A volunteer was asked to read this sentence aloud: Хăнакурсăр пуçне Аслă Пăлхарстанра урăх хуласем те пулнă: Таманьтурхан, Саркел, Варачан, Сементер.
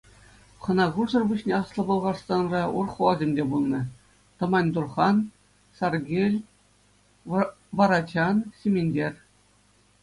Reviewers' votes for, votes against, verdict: 0, 2, rejected